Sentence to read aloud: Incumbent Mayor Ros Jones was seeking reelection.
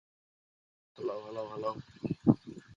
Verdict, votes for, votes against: rejected, 0, 2